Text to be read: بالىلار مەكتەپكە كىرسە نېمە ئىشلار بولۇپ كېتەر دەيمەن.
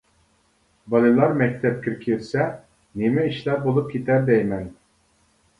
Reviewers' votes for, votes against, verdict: 2, 0, accepted